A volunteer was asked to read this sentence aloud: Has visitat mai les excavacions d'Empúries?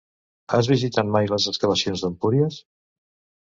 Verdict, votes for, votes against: accepted, 2, 0